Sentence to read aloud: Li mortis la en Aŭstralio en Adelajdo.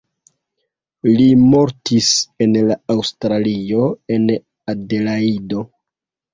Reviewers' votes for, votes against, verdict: 0, 2, rejected